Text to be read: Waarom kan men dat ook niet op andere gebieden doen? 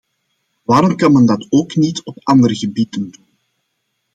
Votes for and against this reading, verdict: 0, 2, rejected